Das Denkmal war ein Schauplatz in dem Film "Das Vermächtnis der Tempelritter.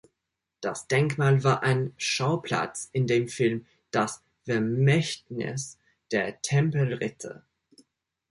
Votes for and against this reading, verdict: 1, 2, rejected